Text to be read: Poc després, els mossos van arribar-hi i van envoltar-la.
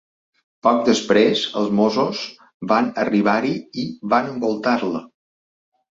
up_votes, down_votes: 2, 0